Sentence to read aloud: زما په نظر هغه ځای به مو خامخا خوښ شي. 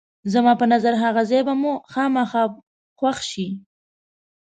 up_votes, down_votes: 2, 0